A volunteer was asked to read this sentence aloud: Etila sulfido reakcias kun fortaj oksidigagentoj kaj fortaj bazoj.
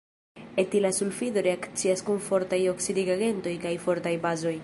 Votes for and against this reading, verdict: 0, 2, rejected